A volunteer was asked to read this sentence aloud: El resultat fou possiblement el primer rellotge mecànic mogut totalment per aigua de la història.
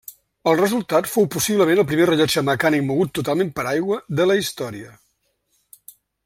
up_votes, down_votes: 2, 1